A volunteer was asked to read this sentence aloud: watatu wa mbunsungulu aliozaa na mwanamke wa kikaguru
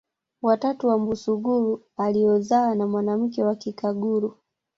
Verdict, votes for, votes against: rejected, 1, 2